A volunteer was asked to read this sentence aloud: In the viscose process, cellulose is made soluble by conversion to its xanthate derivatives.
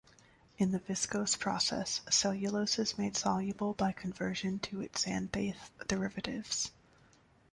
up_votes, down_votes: 2, 0